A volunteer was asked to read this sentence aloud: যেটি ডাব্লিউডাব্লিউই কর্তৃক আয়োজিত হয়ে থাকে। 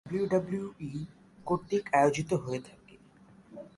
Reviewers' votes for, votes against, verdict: 1, 5, rejected